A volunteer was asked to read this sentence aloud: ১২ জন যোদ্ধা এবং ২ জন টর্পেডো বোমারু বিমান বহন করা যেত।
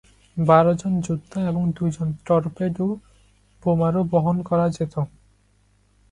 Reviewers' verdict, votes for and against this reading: rejected, 0, 2